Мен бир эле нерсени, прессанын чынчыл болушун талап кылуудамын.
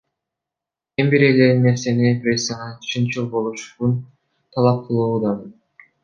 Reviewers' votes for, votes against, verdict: 0, 2, rejected